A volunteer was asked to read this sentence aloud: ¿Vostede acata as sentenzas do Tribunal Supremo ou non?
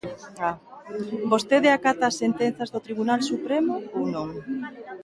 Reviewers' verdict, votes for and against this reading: rejected, 0, 2